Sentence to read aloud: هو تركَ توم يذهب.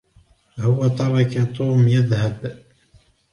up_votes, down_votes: 2, 0